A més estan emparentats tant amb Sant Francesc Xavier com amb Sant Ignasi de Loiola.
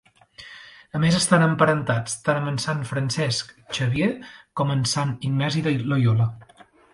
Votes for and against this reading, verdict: 2, 0, accepted